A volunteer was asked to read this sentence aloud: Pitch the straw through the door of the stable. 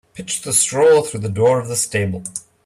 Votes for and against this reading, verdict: 2, 0, accepted